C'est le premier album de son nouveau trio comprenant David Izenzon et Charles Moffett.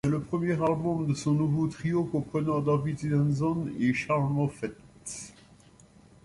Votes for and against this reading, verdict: 0, 2, rejected